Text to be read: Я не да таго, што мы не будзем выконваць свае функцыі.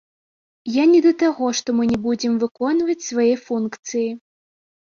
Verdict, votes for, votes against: rejected, 1, 2